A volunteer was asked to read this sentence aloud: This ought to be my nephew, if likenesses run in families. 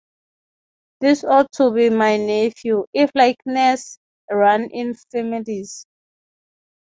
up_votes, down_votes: 3, 3